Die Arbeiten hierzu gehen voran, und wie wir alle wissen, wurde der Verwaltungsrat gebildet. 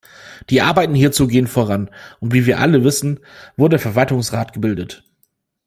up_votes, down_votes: 1, 2